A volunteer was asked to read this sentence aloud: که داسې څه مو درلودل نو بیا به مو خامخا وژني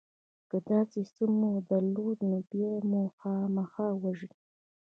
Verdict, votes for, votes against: accepted, 2, 0